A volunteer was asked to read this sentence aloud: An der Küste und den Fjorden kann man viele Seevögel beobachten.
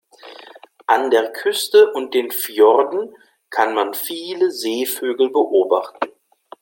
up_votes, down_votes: 2, 0